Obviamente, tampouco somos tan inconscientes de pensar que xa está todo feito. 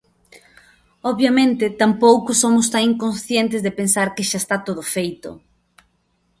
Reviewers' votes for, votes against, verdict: 2, 0, accepted